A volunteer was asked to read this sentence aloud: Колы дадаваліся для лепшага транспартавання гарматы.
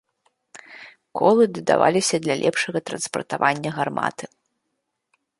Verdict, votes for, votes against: accepted, 2, 0